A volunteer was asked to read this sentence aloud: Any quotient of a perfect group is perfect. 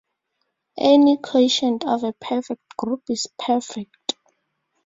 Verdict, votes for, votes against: rejected, 0, 2